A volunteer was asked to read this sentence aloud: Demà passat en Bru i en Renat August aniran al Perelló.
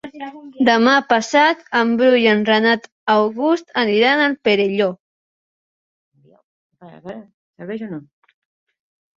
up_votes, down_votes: 0, 2